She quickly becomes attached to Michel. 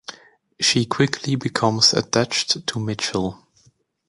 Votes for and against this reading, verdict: 2, 0, accepted